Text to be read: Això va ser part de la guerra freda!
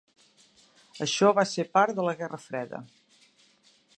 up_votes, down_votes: 0, 2